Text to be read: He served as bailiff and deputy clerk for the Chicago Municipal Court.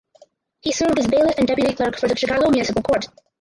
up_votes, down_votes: 4, 2